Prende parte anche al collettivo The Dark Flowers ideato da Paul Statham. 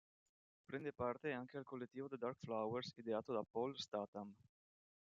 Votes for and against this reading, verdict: 2, 0, accepted